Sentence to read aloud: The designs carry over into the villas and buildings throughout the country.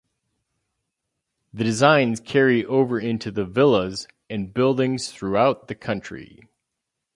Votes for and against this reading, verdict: 4, 0, accepted